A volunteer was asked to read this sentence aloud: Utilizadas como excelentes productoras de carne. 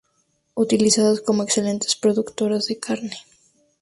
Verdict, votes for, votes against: rejected, 0, 2